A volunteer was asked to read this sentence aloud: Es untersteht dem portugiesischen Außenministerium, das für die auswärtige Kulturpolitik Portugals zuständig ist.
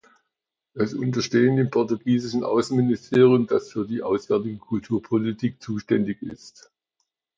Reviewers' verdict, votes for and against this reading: rejected, 0, 2